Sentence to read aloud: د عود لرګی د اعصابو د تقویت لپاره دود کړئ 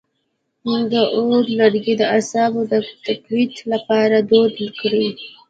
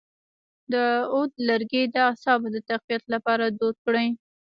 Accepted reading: second